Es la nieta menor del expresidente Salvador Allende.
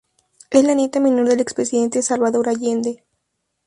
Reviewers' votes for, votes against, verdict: 0, 2, rejected